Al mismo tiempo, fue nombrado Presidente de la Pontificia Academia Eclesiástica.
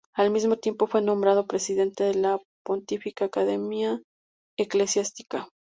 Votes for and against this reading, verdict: 0, 2, rejected